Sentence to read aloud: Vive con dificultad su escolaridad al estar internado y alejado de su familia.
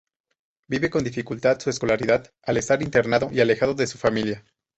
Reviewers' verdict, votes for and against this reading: accepted, 2, 0